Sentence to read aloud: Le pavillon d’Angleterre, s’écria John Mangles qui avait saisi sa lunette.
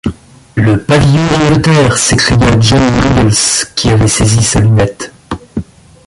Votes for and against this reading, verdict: 1, 2, rejected